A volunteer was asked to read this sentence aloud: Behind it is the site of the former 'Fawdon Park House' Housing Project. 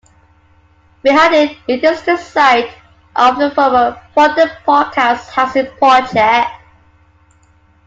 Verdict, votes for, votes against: accepted, 2, 0